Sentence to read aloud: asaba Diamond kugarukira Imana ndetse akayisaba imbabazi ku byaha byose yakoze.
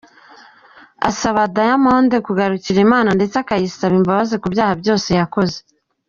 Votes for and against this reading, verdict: 2, 1, accepted